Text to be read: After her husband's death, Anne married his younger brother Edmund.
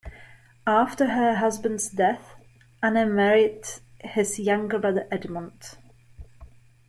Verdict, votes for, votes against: rejected, 0, 2